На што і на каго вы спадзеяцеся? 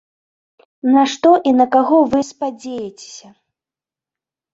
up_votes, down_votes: 0, 2